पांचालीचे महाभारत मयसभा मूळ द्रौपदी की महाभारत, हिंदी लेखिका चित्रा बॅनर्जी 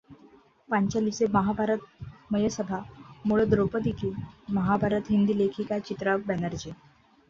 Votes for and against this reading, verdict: 2, 0, accepted